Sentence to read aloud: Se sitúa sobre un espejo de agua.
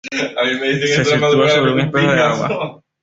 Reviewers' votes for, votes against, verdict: 1, 2, rejected